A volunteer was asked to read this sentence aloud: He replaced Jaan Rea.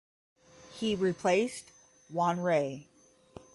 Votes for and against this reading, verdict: 5, 10, rejected